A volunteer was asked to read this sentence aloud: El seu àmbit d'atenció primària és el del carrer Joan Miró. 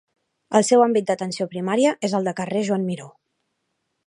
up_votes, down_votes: 1, 2